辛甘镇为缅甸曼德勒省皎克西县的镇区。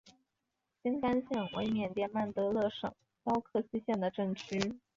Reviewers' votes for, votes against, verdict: 0, 2, rejected